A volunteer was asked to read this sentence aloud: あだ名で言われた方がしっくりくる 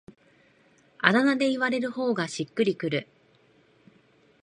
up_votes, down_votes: 1, 2